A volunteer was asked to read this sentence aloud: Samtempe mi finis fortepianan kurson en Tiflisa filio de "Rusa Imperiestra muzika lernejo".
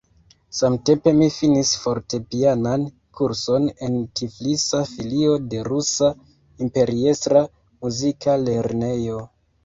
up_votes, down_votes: 2, 0